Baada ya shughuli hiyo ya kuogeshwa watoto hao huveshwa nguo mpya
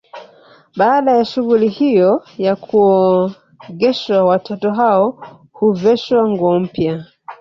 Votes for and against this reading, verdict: 1, 2, rejected